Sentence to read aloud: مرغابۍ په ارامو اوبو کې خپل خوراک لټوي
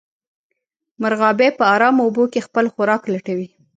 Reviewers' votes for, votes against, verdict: 1, 2, rejected